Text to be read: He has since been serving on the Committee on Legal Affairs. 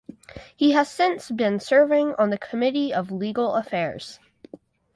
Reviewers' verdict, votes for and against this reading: rejected, 2, 4